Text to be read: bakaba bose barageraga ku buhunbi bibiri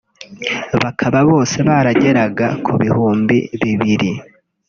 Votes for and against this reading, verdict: 1, 2, rejected